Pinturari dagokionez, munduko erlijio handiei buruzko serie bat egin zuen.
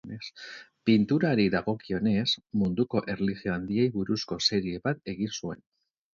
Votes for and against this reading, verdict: 0, 2, rejected